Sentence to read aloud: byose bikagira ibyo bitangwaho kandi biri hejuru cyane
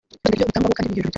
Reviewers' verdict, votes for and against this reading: rejected, 0, 2